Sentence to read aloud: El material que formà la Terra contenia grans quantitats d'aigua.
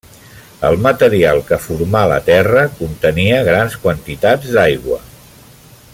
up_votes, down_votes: 3, 0